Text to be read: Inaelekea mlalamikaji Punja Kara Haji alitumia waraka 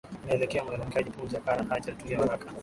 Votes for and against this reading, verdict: 35, 15, accepted